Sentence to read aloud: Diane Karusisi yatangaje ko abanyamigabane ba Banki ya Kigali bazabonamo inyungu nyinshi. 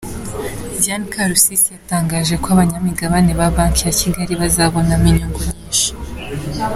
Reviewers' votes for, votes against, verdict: 2, 0, accepted